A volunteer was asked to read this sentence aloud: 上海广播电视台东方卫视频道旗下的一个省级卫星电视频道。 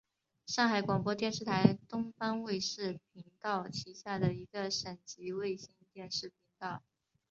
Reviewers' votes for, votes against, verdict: 2, 1, accepted